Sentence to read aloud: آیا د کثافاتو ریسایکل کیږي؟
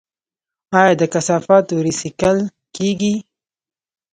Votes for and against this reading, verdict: 2, 0, accepted